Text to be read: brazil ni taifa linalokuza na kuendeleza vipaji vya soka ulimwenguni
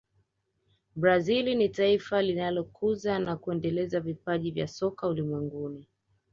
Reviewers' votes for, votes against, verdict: 2, 1, accepted